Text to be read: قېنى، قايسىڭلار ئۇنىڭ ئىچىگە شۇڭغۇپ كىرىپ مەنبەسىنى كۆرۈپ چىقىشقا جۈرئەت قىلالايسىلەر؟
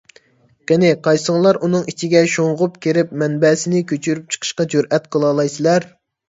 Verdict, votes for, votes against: rejected, 1, 2